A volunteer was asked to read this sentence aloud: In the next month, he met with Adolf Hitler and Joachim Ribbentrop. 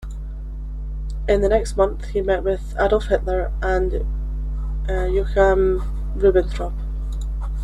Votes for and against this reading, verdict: 1, 2, rejected